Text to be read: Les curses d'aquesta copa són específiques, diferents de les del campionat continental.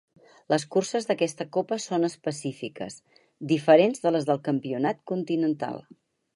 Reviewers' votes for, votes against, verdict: 4, 0, accepted